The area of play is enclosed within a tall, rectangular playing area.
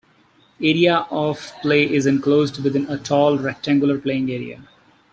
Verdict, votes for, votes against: rejected, 0, 2